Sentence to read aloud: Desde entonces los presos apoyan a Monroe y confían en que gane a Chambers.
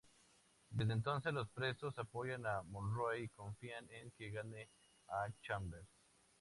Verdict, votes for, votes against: accepted, 2, 0